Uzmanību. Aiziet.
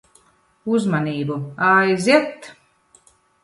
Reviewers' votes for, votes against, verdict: 1, 2, rejected